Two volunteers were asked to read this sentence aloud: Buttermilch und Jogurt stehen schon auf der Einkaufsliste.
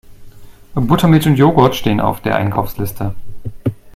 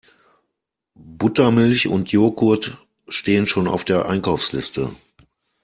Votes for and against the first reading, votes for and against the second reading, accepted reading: 1, 2, 2, 0, second